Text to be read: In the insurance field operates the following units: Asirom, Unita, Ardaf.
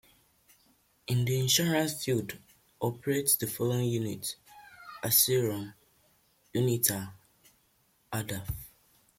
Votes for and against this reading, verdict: 2, 0, accepted